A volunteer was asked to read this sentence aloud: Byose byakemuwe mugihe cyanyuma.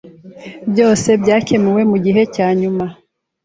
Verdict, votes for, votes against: accepted, 2, 0